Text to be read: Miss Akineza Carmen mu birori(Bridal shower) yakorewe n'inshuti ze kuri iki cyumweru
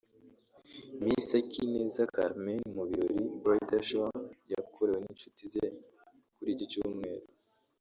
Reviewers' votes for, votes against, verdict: 0, 2, rejected